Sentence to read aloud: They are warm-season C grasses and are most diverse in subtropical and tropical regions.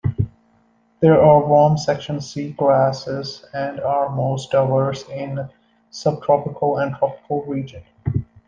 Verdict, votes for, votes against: rejected, 0, 2